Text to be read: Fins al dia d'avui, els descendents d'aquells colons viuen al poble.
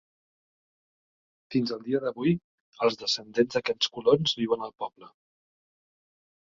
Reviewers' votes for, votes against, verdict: 1, 2, rejected